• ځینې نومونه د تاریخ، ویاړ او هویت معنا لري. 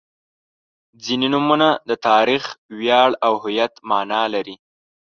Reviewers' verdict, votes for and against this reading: accepted, 2, 0